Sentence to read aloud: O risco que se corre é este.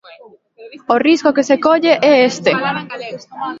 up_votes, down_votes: 0, 3